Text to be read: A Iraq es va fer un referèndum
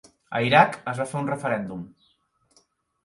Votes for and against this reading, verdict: 2, 0, accepted